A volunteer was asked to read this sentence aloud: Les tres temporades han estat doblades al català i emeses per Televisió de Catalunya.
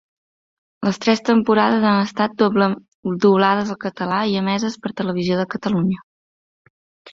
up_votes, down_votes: 0, 2